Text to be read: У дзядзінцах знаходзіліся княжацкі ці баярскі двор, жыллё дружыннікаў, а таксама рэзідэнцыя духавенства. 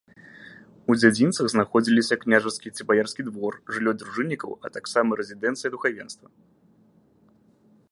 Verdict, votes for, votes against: rejected, 1, 2